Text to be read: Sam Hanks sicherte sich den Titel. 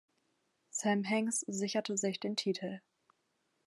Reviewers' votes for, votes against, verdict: 2, 0, accepted